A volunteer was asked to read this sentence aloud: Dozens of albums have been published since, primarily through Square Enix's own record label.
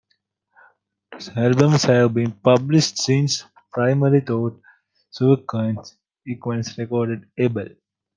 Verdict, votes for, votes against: rejected, 0, 2